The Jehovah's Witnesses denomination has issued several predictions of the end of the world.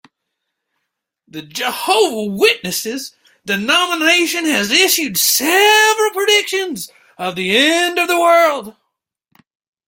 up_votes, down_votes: 0, 2